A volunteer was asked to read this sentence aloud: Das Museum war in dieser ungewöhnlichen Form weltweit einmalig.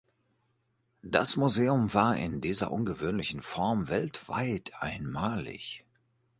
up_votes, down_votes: 2, 0